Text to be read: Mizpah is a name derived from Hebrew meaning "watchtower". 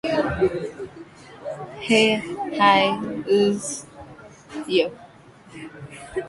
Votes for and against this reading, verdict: 0, 2, rejected